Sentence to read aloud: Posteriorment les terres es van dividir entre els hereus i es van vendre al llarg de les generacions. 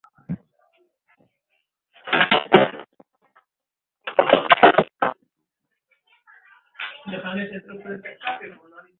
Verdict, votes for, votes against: rejected, 0, 2